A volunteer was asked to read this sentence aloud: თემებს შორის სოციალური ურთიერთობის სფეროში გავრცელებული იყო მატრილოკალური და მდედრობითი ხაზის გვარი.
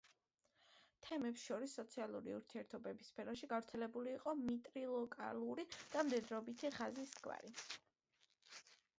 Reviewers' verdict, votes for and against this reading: rejected, 1, 2